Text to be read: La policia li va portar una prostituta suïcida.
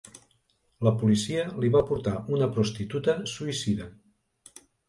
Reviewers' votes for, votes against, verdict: 4, 0, accepted